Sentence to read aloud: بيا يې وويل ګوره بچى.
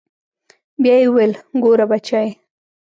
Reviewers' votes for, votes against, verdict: 2, 0, accepted